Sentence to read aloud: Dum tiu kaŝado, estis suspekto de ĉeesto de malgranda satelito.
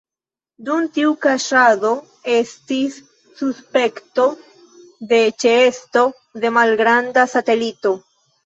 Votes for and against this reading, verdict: 1, 2, rejected